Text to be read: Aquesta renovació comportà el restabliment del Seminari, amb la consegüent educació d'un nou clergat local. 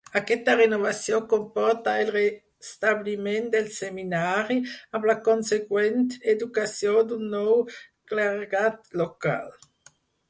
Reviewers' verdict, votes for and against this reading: rejected, 2, 6